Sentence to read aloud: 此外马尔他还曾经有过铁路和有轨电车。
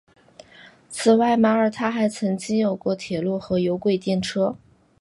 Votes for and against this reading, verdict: 2, 0, accepted